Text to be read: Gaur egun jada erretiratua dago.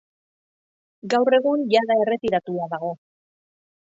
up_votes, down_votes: 2, 0